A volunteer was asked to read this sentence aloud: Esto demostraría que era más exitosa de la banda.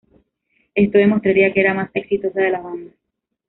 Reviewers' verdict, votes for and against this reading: rejected, 1, 2